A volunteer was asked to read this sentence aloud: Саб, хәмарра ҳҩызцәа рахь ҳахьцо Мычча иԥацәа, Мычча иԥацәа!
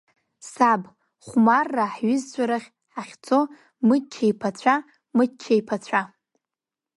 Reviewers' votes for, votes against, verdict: 2, 0, accepted